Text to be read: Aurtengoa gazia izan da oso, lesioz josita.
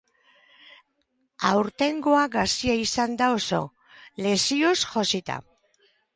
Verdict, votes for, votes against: rejected, 0, 2